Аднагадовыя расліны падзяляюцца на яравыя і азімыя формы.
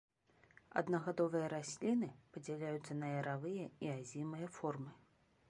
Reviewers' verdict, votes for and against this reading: accepted, 2, 0